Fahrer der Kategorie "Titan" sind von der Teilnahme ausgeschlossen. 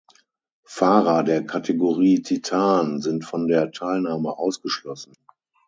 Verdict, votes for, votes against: accepted, 6, 0